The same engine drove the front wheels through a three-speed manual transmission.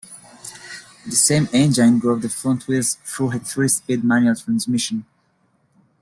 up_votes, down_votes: 2, 1